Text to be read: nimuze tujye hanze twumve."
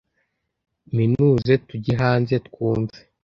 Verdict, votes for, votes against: rejected, 1, 2